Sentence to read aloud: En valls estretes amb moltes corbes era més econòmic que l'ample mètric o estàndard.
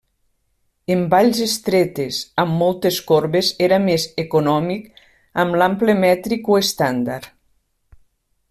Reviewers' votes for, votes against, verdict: 0, 2, rejected